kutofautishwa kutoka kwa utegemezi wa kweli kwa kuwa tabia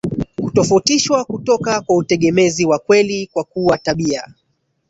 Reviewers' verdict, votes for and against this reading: rejected, 1, 2